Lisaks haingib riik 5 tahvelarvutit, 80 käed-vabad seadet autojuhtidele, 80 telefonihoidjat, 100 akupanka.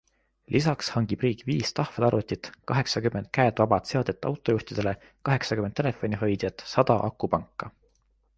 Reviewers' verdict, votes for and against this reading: rejected, 0, 2